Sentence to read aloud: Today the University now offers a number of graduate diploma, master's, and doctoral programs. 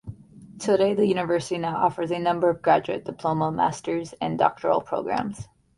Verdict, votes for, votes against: accepted, 2, 0